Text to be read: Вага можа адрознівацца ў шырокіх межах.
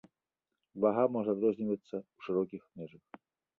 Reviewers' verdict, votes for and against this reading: accepted, 2, 0